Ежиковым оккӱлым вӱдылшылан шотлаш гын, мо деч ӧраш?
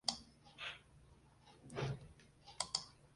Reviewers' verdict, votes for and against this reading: rejected, 0, 2